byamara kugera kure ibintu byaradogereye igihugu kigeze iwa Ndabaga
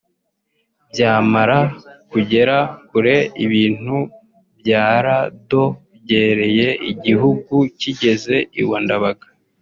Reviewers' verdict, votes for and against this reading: rejected, 1, 2